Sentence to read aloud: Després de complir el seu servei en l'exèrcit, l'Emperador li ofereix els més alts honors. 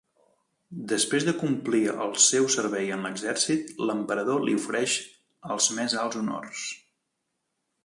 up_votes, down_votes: 2, 0